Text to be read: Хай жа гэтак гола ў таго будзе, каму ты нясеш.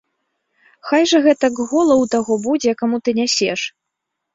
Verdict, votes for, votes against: accepted, 2, 0